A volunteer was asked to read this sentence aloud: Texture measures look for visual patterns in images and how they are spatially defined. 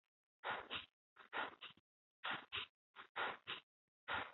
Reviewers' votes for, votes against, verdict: 0, 3, rejected